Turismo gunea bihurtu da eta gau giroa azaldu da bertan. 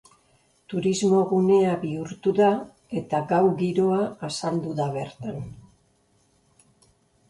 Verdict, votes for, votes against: rejected, 1, 2